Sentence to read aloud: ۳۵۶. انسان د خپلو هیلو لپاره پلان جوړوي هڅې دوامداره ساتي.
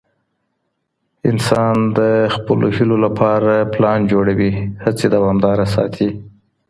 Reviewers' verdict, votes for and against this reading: rejected, 0, 2